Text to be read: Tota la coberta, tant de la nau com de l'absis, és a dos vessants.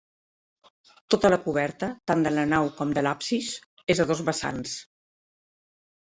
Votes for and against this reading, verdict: 1, 2, rejected